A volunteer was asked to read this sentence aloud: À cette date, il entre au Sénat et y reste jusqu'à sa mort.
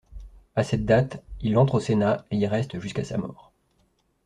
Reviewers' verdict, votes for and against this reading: accepted, 2, 0